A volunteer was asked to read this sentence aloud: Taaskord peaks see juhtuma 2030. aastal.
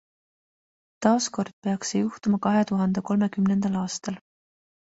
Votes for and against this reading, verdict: 0, 2, rejected